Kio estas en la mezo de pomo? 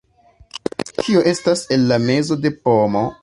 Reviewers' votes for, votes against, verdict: 2, 0, accepted